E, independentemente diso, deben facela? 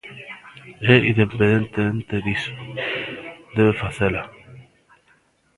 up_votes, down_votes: 0, 2